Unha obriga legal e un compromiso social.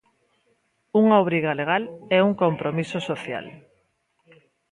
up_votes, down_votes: 2, 0